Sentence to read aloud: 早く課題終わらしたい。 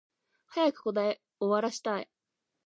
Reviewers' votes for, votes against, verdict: 1, 2, rejected